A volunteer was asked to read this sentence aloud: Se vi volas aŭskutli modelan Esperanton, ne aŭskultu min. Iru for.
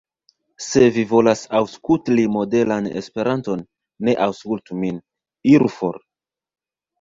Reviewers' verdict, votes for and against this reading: rejected, 1, 2